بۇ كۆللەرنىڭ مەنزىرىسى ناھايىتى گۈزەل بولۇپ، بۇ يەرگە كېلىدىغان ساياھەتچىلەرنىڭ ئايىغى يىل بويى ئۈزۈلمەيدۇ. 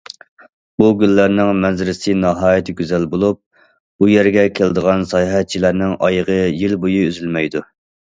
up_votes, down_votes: 0, 2